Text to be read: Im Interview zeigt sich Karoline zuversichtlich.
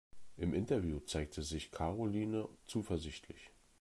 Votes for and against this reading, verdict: 1, 2, rejected